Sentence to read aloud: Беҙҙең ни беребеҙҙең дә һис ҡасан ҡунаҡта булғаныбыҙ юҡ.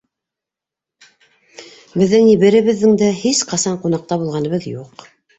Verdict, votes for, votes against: rejected, 1, 2